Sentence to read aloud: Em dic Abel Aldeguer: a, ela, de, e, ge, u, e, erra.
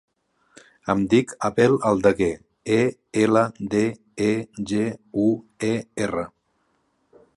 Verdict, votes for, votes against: rejected, 0, 3